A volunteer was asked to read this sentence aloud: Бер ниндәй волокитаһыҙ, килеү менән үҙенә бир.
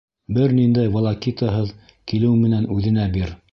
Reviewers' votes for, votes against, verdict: 2, 0, accepted